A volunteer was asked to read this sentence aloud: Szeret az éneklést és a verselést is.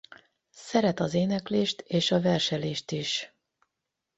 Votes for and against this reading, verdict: 4, 4, rejected